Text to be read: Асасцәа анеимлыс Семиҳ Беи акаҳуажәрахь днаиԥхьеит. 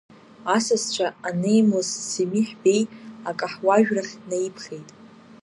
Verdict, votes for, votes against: rejected, 1, 2